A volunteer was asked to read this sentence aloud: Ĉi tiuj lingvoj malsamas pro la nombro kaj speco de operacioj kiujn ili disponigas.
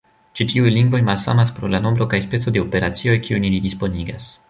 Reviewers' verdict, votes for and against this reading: accepted, 2, 0